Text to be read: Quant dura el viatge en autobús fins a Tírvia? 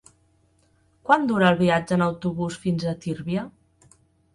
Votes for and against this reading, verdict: 2, 0, accepted